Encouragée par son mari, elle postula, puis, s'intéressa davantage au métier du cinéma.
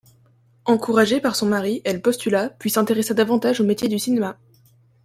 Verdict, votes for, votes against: rejected, 0, 2